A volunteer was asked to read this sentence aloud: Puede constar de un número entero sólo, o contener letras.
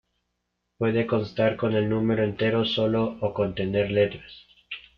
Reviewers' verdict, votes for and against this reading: rejected, 1, 2